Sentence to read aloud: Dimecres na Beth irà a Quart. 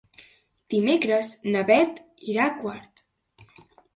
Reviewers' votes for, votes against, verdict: 2, 0, accepted